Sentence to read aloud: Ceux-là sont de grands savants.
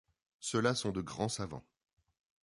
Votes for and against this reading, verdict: 2, 0, accepted